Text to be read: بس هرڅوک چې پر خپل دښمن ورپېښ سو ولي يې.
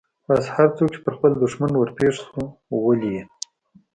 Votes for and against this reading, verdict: 2, 0, accepted